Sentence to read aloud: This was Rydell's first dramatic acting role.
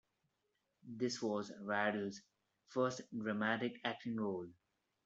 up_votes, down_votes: 2, 0